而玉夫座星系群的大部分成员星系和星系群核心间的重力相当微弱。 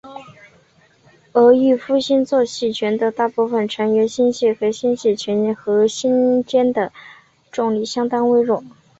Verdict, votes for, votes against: accepted, 3, 1